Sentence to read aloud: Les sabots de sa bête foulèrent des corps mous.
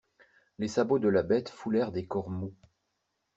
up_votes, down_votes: 0, 2